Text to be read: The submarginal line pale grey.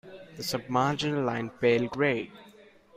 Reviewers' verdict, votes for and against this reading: accepted, 2, 0